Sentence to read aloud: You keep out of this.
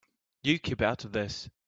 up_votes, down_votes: 2, 0